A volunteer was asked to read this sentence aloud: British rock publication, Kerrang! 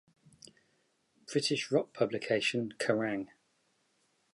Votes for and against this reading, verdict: 3, 1, accepted